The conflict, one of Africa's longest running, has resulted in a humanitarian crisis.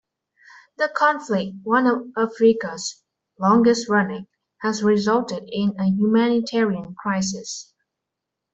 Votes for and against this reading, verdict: 2, 0, accepted